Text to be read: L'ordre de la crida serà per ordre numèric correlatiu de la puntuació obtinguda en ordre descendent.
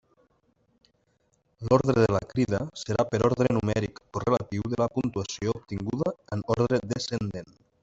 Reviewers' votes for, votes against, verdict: 1, 3, rejected